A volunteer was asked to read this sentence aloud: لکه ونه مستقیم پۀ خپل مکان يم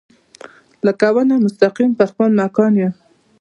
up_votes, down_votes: 0, 2